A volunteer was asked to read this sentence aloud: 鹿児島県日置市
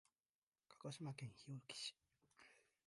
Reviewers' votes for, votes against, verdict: 2, 0, accepted